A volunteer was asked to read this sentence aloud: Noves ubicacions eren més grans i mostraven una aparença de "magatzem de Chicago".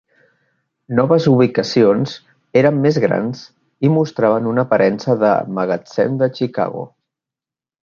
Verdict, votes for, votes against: accepted, 3, 0